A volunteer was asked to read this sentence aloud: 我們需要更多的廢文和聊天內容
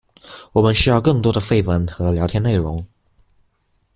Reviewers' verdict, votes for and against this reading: accepted, 2, 0